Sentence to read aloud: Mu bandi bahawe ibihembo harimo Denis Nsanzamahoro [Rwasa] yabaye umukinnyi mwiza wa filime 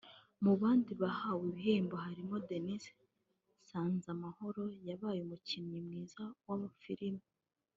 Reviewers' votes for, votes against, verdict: 0, 2, rejected